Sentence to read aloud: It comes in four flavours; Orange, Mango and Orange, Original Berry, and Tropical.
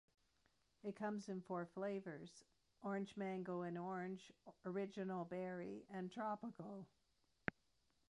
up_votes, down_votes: 2, 0